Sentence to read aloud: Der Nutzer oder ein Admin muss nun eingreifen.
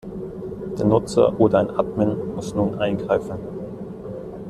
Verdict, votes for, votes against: accepted, 2, 0